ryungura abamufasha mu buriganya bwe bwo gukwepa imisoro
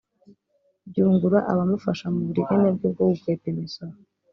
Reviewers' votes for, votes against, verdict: 1, 2, rejected